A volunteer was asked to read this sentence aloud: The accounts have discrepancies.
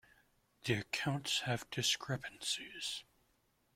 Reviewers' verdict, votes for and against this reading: accepted, 2, 0